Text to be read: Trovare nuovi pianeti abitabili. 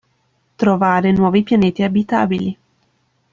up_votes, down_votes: 3, 0